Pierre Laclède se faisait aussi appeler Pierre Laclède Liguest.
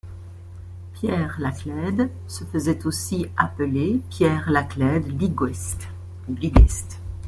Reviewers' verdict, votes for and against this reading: rejected, 1, 2